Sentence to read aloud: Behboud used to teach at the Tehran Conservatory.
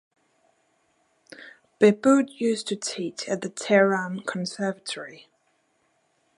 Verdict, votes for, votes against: accepted, 2, 0